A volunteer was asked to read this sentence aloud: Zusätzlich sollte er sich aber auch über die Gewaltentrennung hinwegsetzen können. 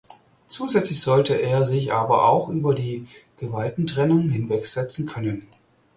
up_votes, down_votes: 4, 0